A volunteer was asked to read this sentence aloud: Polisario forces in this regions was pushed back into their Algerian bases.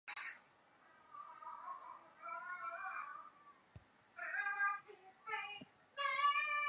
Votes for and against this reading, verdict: 0, 2, rejected